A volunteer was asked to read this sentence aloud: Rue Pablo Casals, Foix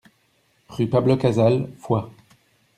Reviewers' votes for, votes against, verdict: 2, 1, accepted